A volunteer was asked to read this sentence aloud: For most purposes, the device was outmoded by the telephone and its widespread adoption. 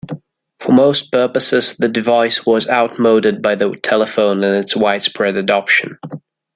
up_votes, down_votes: 2, 0